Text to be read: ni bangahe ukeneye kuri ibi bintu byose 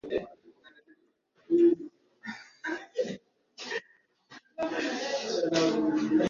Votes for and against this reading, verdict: 1, 2, rejected